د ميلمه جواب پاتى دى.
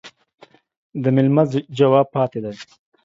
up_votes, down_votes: 2, 0